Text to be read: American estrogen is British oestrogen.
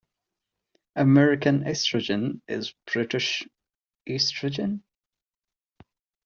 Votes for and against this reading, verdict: 2, 1, accepted